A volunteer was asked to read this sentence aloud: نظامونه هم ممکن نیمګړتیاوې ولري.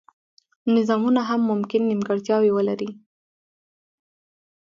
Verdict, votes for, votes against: accepted, 2, 0